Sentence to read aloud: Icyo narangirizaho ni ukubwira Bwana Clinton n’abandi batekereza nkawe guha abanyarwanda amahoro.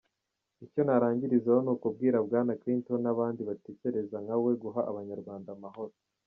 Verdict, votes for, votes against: accepted, 2, 0